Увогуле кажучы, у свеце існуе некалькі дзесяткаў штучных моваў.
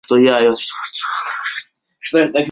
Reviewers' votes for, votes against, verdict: 0, 2, rejected